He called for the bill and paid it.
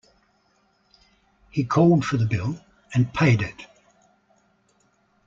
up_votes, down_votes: 2, 0